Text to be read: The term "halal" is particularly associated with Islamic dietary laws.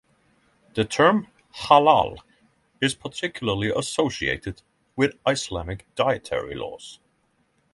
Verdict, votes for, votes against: accepted, 3, 0